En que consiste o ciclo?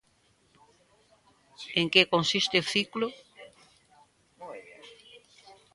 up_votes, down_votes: 0, 2